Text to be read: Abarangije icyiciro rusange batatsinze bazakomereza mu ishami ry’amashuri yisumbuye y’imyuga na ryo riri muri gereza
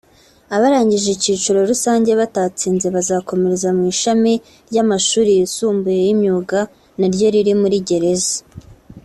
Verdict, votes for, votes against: accepted, 2, 0